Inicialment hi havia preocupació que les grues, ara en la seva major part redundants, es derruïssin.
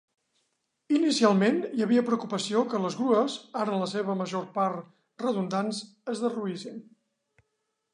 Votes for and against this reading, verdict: 2, 0, accepted